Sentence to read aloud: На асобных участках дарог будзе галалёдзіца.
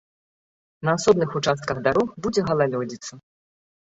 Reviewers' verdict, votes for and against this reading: accepted, 2, 0